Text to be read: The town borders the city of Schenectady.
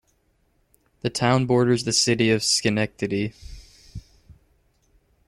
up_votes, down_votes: 2, 0